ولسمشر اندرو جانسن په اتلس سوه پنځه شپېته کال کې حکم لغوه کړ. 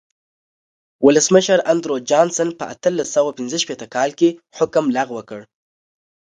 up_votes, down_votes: 2, 0